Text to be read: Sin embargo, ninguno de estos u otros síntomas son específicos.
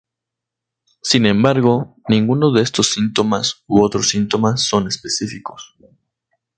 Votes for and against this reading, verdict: 0, 2, rejected